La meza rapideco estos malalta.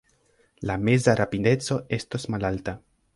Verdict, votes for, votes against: accepted, 2, 0